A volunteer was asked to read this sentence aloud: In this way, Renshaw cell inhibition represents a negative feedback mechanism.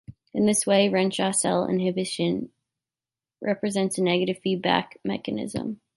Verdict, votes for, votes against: accepted, 2, 0